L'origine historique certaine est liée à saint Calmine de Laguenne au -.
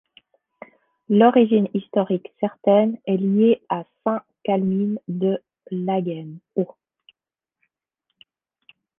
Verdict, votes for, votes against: accepted, 2, 0